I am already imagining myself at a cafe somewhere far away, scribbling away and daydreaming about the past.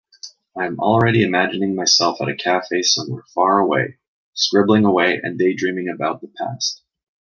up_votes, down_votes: 2, 0